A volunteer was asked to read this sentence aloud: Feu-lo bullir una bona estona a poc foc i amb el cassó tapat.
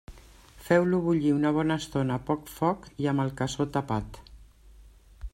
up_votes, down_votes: 3, 0